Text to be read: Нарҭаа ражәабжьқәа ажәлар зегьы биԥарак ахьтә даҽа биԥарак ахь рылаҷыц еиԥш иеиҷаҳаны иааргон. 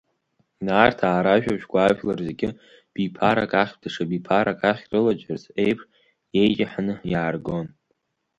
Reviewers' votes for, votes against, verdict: 3, 1, accepted